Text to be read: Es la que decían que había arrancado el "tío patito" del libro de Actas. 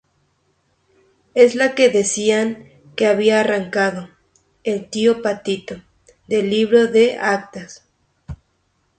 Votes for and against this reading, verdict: 2, 0, accepted